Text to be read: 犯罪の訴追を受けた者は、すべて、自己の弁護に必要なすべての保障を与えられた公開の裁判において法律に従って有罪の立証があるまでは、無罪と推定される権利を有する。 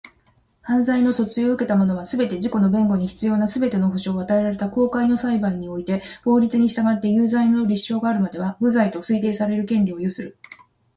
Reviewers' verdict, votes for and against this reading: accepted, 2, 0